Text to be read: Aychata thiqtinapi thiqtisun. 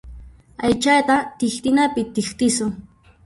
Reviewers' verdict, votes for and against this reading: rejected, 0, 2